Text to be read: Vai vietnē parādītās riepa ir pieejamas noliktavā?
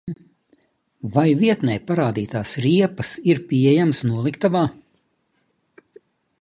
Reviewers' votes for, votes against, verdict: 2, 1, accepted